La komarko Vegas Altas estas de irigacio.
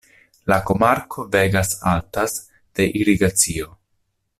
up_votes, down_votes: 0, 2